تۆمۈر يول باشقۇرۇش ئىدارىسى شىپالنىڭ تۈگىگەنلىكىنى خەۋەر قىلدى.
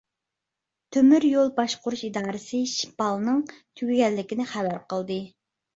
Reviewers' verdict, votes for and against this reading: accepted, 2, 0